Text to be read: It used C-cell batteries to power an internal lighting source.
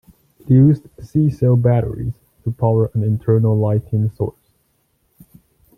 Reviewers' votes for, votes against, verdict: 2, 1, accepted